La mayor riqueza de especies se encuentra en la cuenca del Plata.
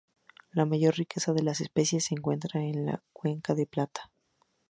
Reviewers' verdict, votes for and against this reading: accepted, 2, 0